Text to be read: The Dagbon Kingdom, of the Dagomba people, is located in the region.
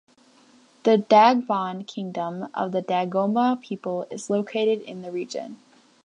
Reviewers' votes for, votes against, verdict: 2, 0, accepted